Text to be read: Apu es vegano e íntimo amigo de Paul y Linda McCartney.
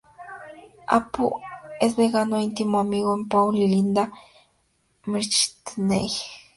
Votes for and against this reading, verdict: 2, 0, accepted